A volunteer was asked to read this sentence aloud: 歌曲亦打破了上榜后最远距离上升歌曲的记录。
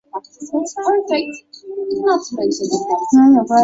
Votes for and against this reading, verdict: 0, 2, rejected